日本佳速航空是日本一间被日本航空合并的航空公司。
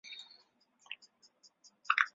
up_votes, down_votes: 0, 2